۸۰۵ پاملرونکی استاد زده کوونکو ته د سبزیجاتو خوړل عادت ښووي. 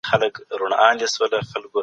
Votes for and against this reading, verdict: 0, 2, rejected